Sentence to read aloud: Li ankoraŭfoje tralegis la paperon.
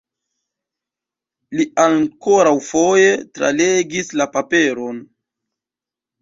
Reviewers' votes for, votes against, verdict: 2, 1, accepted